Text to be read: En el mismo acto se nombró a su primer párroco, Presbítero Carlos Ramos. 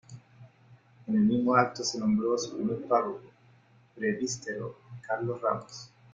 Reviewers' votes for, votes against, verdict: 1, 2, rejected